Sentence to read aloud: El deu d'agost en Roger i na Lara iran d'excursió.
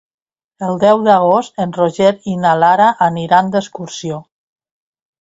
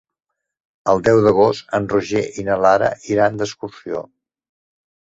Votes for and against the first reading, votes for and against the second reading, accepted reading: 0, 2, 7, 0, second